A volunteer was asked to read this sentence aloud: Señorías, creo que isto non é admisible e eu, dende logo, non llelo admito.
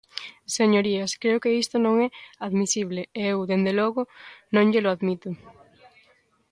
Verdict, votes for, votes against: accepted, 3, 0